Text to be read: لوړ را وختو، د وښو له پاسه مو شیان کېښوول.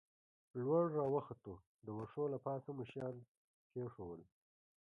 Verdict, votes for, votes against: accepted, 2, 1